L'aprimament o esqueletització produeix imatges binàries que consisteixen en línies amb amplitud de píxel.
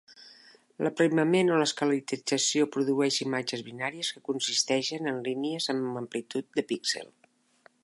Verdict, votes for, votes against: rejected, 2, 3